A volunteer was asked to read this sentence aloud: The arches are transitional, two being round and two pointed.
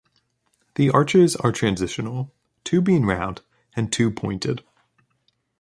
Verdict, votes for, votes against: accepted, 3, 0